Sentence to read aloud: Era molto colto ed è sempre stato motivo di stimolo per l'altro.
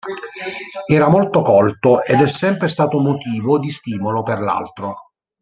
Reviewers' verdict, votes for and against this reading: rejected, 0, 2